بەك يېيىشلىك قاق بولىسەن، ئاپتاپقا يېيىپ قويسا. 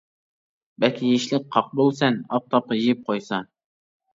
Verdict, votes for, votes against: rejected, 0, 2